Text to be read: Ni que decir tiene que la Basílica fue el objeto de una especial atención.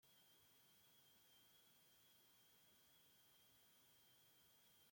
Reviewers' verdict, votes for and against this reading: rejected, 0, 2